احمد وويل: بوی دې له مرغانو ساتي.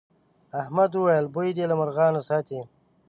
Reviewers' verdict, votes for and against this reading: accepted, 6, 0